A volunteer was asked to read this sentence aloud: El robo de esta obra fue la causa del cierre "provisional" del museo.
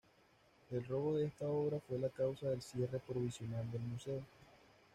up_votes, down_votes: 2, 0